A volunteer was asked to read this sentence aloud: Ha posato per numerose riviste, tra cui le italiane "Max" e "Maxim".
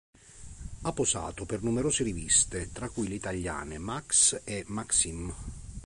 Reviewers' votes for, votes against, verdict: 3, 0, accepted